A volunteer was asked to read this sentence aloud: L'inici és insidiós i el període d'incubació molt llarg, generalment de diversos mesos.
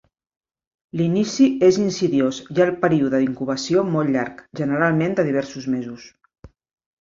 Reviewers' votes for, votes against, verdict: 2, 0, accepted